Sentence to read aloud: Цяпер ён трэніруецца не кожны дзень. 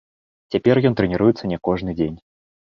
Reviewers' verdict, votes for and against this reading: accepted, 2, 0